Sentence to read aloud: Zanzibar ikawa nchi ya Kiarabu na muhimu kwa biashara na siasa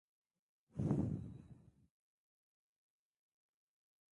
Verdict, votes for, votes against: rejected, 0, 3